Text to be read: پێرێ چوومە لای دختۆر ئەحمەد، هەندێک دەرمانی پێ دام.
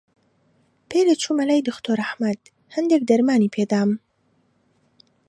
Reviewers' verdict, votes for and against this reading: accepted, 2, 0